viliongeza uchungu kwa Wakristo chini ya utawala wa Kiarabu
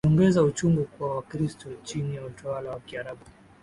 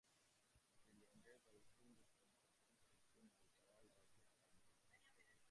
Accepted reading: first